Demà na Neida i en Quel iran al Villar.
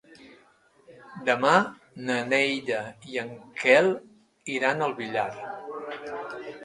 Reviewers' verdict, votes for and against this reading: accepted, 2, 1